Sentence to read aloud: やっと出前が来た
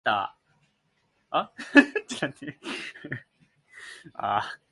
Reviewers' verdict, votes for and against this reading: rejected, 0, 3